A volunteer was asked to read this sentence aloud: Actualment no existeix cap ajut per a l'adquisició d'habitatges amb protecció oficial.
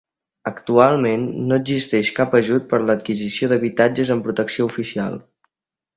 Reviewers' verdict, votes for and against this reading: accepted, 2, 1